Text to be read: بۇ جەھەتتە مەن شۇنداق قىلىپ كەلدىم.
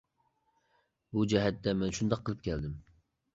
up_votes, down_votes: 2, 0